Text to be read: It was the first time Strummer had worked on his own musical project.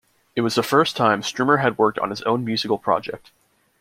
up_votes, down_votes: 2, 1